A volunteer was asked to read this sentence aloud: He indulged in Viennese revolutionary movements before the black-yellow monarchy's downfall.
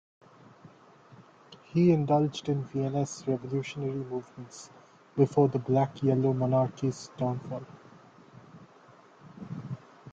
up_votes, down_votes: 2, 0